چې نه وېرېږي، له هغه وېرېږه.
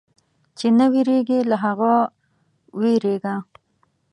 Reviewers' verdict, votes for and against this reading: accepted, 2, 0